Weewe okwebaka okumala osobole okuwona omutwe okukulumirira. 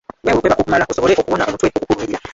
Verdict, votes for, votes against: rejected, 0, 2